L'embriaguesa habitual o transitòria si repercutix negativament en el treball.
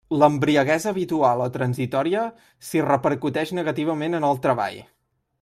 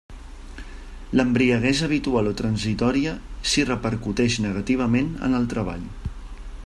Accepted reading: second